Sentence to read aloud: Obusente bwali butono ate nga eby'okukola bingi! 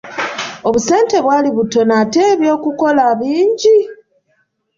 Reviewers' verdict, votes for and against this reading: rejected, 1, 2